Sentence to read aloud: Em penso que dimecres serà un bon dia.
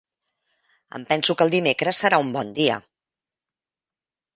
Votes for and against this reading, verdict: 0, 2, rejected